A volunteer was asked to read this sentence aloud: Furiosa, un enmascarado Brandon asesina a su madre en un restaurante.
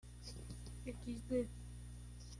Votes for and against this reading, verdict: 0, 2, rejected